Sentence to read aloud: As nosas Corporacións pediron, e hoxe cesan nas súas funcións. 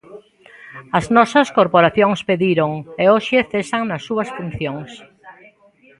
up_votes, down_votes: 0, 2